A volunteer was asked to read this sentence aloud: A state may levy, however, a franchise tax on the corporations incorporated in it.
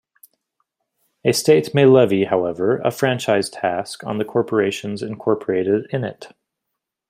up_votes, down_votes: 0, 2